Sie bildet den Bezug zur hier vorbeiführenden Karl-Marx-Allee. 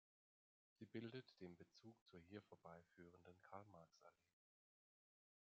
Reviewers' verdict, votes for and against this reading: accepted, 2, 1